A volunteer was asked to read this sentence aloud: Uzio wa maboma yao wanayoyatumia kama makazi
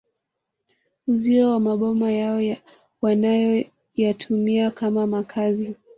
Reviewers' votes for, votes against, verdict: 0, 2, rejected